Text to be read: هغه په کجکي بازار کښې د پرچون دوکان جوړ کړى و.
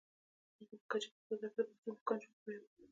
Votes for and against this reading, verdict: 1, 2, rejected